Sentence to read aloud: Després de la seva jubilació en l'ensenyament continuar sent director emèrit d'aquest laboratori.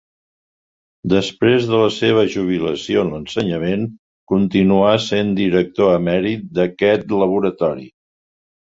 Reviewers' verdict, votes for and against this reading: accepted, 2, 0